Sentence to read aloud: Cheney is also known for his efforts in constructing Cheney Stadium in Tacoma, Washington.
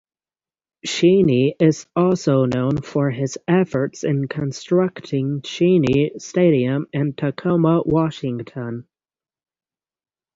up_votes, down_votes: 6, 0